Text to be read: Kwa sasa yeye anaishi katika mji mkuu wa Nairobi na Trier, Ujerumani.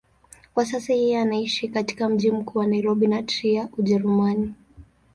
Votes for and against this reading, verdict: 6, 0, accepted